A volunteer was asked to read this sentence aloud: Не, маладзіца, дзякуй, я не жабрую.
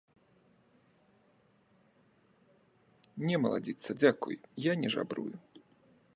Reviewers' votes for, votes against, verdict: 2, 0, accepted